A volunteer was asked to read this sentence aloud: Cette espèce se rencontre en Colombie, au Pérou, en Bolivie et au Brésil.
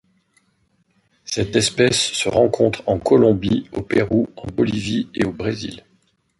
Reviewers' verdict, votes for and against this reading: rejected, 0, 2